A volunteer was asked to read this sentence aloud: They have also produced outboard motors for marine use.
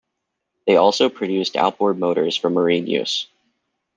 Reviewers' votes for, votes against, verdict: 1, 2, rejected